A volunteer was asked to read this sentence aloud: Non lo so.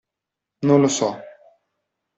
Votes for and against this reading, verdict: 2, 0, accepted